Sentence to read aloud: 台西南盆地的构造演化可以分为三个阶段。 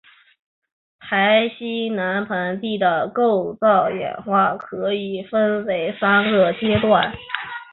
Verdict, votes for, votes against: accepted, 2, 0